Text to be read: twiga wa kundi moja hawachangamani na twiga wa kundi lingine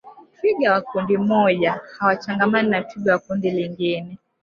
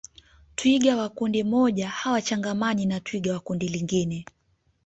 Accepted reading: second